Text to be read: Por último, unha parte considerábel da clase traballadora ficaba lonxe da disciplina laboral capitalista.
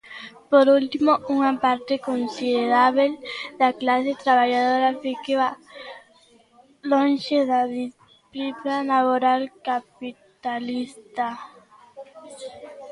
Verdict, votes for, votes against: rejected, 0, 2